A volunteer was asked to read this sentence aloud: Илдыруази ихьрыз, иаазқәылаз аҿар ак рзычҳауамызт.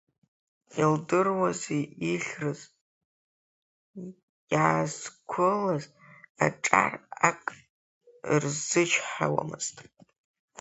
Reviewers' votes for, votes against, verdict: 3, 2, accepted